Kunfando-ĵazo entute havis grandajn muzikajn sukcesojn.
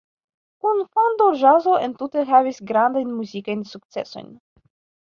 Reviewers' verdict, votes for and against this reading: accepted, 2, 1